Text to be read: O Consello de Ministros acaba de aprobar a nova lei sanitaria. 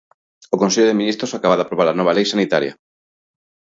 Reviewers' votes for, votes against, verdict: 2, 0, accepted